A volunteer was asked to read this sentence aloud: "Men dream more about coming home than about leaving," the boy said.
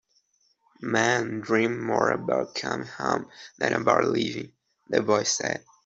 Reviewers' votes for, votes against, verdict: 0, 2, rejected